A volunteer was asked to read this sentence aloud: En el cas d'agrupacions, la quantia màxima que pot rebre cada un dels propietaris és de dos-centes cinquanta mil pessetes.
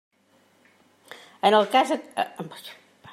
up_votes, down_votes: 0, 2